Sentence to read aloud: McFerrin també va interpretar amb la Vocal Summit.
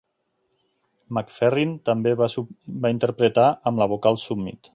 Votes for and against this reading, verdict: 1, 2, rejected